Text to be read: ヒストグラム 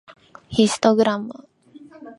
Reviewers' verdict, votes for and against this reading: accepted, 2, 0